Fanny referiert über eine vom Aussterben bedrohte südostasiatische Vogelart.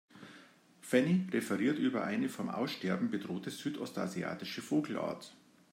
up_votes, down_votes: 2, 0